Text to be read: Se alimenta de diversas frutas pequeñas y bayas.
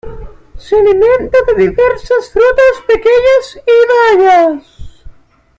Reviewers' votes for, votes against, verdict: 2, 1, accepted